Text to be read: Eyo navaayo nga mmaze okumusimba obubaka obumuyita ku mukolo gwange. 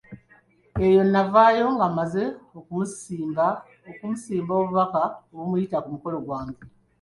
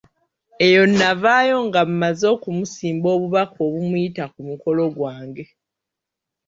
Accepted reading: first